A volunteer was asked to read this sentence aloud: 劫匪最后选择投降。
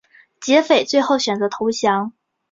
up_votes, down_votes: 4, 0